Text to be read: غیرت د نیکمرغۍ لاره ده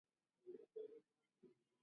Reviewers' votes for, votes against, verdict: 0, 2, rejected